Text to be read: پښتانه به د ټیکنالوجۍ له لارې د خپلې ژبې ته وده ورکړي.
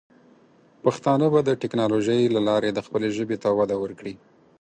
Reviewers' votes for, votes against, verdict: 4, 0, accepted